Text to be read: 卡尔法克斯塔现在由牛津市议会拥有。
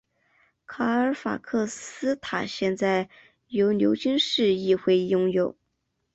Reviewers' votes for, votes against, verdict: 6, 2, accepted